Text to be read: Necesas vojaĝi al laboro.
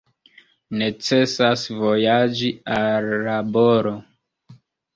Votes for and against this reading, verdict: 2, 0, accepted